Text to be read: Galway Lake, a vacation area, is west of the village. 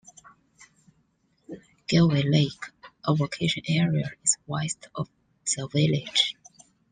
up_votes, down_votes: 0, 2